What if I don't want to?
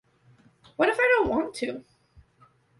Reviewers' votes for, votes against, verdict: 2, 0, accepted